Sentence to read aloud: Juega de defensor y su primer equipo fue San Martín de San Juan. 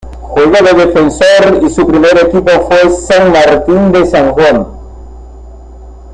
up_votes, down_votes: 2, 0